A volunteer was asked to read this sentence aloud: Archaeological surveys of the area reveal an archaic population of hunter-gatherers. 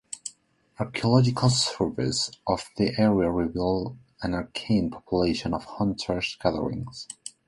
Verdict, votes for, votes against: accepted, 2, 0